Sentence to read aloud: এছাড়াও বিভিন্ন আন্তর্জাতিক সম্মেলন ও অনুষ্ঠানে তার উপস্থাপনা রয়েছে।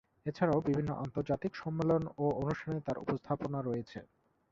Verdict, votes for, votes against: rejected, 0, 2